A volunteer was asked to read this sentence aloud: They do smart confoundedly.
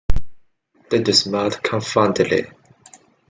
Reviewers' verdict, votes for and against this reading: rejected, 1, 2